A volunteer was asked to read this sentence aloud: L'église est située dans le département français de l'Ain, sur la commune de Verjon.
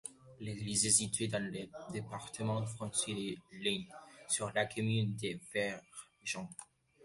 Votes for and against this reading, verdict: 1, 2, rejected